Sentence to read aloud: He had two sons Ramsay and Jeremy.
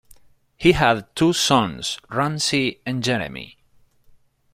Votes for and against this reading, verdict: 2, 1, accepted